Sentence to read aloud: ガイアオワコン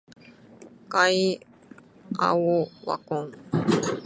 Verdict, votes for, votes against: rejected, 0, 2